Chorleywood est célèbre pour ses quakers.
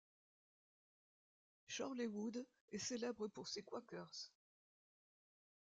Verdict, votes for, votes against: rejected, 0, 2